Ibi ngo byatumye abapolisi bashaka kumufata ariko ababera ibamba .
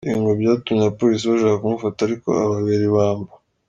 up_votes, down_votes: 3, 0